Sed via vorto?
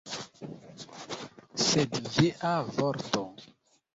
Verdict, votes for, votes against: rejected, 0, 2